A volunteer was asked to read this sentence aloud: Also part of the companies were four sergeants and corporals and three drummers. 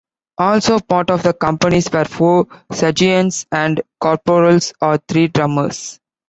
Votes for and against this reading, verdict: 2, 0, accepted